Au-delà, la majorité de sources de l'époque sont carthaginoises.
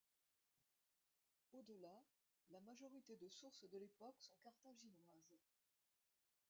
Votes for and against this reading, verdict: 0, 2, rejected